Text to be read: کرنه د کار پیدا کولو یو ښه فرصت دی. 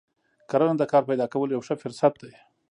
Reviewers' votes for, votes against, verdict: 2, 0, accepted